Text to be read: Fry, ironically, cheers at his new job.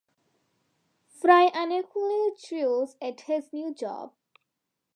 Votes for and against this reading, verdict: 1, 2, rejected